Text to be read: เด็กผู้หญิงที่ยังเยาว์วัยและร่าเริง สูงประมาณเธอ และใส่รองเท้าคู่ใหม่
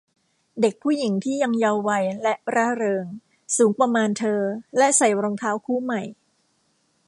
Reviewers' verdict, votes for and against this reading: rejected, 1, 2